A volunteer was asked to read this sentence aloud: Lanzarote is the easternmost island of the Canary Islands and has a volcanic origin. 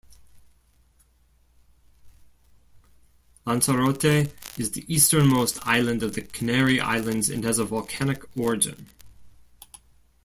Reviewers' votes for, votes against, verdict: 2, 0, accepted